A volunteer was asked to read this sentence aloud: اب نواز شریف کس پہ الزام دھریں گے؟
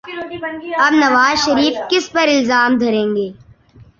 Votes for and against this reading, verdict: 2, 0, accepted